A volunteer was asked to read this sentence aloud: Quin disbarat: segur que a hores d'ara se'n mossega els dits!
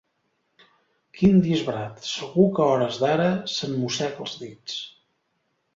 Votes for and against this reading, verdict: 2, 0, accepted